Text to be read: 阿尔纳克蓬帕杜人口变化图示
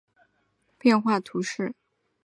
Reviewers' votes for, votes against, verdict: 4, 1, accepted